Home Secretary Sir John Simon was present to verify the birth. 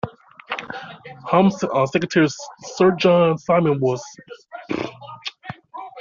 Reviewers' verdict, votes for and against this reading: rejected, 0, 2